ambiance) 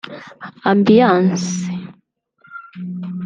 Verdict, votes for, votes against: rejected, 1, 2